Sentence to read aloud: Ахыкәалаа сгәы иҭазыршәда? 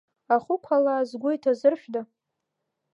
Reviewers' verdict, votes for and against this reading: rejected, 0, 2